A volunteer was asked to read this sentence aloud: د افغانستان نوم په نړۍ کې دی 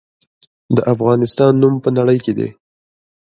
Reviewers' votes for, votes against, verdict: 1, 2, rejected